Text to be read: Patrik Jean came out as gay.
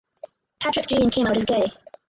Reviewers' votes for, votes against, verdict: 4, 0, accepted